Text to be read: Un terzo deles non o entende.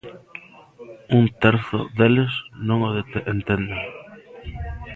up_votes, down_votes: 0, 2